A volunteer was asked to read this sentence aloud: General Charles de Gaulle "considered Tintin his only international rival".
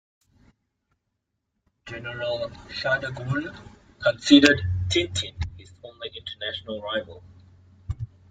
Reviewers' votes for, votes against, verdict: 1, 2, rejected